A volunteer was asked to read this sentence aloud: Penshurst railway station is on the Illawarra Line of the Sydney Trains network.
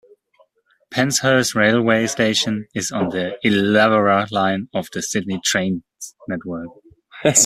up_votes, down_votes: 0, 2